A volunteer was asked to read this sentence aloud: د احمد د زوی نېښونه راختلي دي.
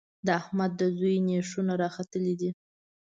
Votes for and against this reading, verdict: 2, 0, accepted